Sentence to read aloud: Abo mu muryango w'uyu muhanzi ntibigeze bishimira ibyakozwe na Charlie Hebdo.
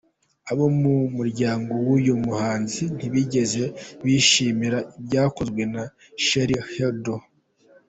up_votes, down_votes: 2, 0